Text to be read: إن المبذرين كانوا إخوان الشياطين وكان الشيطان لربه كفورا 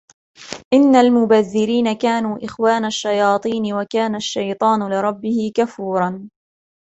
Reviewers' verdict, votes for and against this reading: accepted, 2, 0